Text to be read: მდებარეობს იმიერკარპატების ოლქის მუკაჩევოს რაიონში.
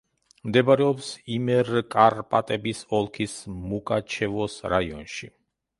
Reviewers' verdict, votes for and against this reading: rejected, 1, 2